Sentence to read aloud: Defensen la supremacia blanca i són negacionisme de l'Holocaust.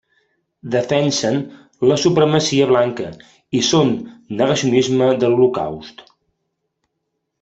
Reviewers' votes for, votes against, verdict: 2, 0, accepted